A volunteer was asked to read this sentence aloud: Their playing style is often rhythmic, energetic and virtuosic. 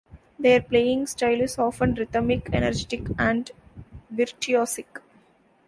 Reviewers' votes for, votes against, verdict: 1, 2, rejected